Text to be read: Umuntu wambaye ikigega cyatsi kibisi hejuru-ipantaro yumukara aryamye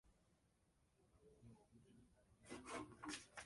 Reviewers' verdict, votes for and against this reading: rejected, 0, 2